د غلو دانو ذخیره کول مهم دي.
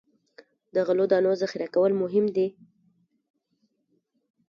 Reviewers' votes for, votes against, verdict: 2, 0, accepted